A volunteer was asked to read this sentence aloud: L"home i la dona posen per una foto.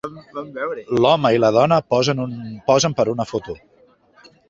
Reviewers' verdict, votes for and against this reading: rejected, 1, 2